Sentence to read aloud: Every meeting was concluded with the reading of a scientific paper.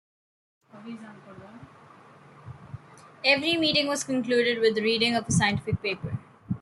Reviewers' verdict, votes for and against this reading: rejected, 1, 2